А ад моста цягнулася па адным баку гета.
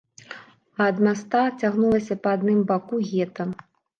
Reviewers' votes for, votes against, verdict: 0, 2, rejected